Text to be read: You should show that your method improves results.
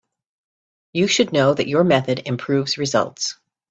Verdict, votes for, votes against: rejected, 0, 2